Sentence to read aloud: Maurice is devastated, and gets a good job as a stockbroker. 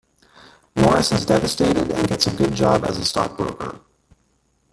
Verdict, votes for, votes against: accepted, 2, 1